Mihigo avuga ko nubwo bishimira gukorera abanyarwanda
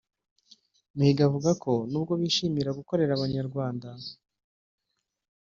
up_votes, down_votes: 0, 2